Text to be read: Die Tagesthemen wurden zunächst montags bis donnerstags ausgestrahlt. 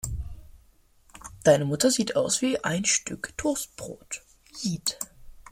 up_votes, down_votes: 0, 2